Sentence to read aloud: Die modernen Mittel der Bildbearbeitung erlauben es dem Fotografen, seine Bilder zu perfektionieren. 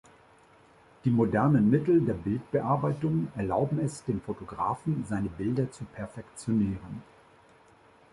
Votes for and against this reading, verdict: 2, 0, accepted